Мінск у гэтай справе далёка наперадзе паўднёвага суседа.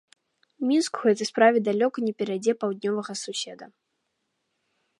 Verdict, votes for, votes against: rejected, 1, 2